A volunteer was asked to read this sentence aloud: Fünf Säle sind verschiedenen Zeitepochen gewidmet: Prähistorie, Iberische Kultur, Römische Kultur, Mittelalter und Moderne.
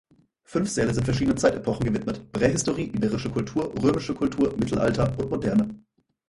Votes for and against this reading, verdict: 4, 2, accepted